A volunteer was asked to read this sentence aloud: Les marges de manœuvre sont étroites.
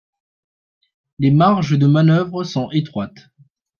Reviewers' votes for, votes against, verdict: 0, 2, rejected